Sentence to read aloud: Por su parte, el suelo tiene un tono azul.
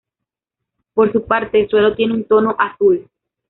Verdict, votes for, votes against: accepted, 2, 0